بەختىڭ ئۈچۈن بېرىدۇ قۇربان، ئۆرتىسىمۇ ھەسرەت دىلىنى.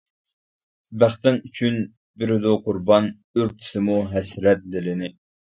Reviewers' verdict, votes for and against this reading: accepted, 2, 1